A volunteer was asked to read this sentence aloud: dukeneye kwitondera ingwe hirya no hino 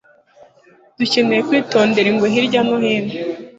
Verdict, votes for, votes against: accepted, 2, 0